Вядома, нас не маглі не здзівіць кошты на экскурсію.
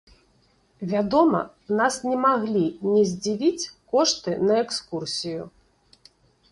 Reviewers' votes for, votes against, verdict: 2, 0, accepted